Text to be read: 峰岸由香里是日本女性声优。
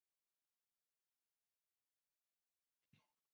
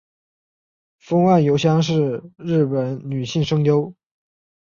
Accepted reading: second